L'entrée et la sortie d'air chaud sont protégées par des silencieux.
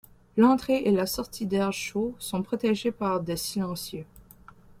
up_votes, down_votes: 3, 0